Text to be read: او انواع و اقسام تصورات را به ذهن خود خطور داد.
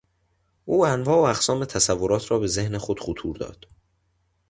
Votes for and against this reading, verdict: 2, 0, accepted